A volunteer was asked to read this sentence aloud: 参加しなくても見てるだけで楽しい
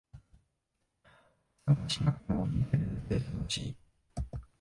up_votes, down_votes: 0, 2